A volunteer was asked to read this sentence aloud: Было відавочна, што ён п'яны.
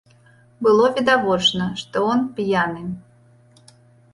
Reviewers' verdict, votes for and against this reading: rejected, 1, 2